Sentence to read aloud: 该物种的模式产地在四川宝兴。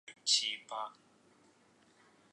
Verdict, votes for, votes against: rejected, 1, 3